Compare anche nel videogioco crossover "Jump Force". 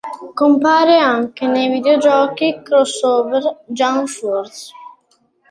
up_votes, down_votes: 0, 2